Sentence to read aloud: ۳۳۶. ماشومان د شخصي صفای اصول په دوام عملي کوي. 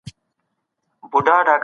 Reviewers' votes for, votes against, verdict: 0, 2, rejected